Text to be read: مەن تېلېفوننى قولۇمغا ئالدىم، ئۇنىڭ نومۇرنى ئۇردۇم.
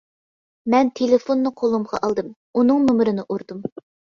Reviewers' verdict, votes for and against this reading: accepted, 2, 0